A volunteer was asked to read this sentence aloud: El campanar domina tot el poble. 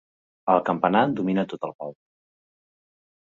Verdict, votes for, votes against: rejected, 0, 2